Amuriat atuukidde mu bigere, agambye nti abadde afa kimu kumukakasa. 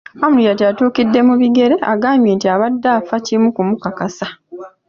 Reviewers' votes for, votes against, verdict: 2, 0, accepted